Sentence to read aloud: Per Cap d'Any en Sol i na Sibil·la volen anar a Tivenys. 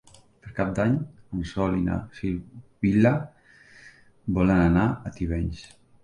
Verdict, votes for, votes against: rejected, 0, 2